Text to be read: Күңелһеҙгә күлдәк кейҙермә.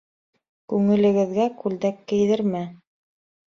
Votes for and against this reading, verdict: 0, 2, rejected